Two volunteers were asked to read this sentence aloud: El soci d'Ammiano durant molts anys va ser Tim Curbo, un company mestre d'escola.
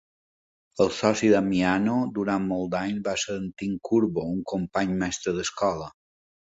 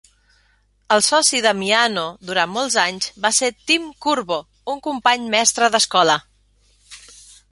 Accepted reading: second